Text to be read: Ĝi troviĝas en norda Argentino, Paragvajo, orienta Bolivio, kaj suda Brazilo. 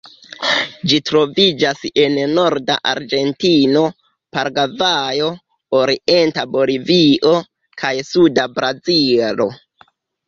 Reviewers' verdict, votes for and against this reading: rejected, 1, 2